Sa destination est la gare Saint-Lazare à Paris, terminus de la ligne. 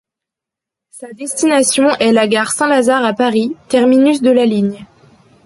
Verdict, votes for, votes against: accepted, 2, 0